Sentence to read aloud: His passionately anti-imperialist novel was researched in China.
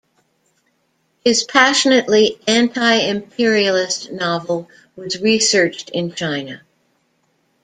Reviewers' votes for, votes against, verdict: 1, 2, rejected